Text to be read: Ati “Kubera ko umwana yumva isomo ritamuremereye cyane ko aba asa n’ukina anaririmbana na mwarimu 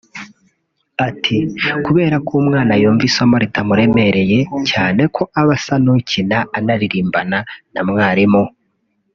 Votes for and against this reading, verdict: 1, 2, rejected